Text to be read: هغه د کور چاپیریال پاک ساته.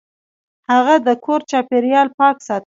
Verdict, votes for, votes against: accepted, 2, 0